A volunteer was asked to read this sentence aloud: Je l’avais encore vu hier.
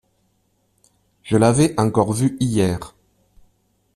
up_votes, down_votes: 2, 0